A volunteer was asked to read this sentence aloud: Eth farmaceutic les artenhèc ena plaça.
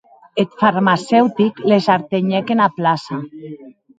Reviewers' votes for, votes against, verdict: 2, 2, rejected